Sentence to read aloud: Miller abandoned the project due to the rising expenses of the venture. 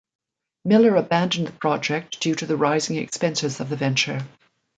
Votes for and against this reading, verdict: 2, 0, accepted